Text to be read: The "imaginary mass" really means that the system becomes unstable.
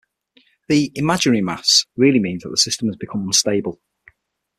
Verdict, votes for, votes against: rejected, 3, 6